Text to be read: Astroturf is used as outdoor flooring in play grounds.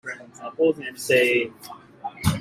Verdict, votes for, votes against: rejected, 0, 2